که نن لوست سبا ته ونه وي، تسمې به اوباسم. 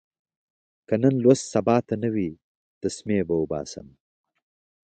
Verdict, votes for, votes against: accepted, 2, 1